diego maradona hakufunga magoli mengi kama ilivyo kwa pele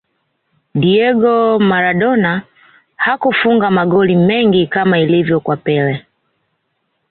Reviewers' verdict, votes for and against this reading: accepted, 2, 0